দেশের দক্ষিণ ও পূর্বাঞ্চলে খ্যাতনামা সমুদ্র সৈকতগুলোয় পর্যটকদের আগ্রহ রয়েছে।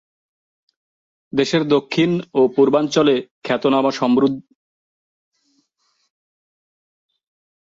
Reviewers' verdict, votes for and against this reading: rejected, 0, 2